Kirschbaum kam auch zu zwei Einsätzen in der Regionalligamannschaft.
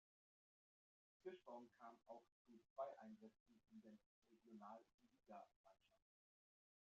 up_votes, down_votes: 0, 2